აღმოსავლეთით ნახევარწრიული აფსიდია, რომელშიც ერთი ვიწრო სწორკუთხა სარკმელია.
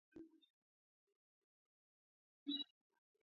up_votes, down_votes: 0, 2